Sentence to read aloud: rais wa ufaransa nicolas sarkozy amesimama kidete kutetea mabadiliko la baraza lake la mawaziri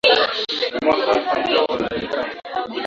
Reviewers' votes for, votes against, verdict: 0, 2, rejected